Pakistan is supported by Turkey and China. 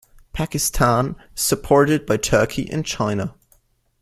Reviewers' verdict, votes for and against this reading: rejected, 1, 2